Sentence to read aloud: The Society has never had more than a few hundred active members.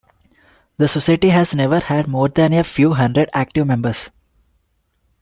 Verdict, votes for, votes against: accepted, 2, 1